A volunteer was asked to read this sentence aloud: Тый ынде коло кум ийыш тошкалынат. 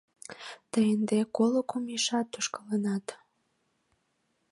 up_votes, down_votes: 0, 2